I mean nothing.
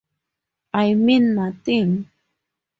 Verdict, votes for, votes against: accepted, 4, 0